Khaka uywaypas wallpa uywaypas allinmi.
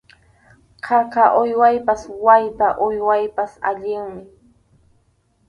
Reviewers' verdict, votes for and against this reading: rejected, 2, 2